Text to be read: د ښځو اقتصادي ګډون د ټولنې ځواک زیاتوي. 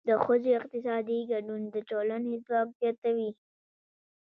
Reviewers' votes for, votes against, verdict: 0, 2, rejected